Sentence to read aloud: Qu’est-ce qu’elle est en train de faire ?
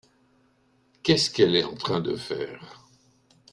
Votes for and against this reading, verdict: 2, 0, accepted